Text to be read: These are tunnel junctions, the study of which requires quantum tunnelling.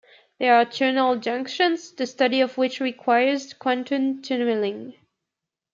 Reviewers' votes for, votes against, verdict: 0, 2, rejected